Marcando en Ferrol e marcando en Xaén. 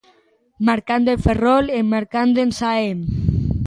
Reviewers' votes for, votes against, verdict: 3, 0, accepted